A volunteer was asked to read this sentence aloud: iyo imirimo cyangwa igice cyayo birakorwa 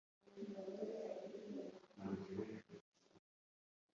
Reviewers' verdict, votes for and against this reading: rejected, 0, 3